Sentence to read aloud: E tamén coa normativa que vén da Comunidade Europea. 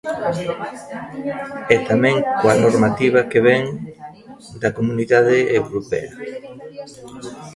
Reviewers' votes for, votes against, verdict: 1, 2, rejected